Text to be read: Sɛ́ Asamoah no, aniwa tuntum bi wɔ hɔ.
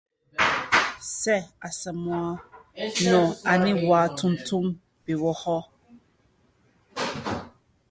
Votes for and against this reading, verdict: 1, 2, rejected